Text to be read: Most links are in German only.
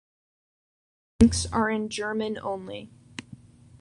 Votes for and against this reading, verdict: 0, 2, rejected